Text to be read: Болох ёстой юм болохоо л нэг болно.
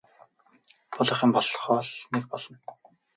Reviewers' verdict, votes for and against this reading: rejected, 2, 2